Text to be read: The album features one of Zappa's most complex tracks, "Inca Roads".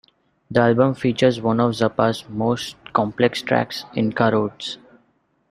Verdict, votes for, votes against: accepted, 2, 0